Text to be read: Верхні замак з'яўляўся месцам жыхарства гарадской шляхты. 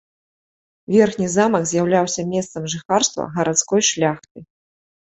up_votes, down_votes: 2, 0